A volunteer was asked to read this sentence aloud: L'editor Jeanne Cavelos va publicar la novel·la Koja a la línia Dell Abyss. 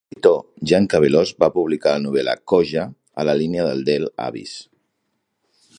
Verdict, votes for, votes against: rejected, 0, 2